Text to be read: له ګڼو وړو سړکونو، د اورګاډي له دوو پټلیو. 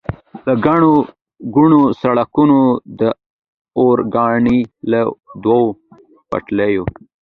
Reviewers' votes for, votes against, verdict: 2, 1, accepted